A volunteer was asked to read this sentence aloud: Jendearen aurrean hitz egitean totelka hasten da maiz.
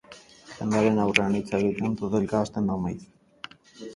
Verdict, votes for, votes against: accepted, 6, 0